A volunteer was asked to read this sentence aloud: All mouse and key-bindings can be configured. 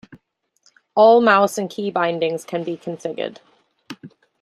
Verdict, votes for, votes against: accepted, 2, 0